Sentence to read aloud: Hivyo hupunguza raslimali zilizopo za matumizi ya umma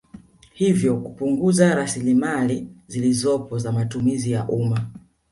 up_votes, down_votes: 2, 1